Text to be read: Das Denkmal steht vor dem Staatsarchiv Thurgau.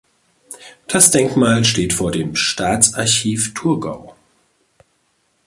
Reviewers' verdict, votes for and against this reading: accepted, 2, 0